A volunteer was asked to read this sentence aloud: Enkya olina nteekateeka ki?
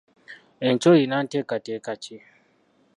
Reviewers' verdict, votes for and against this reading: rejected, 1, 2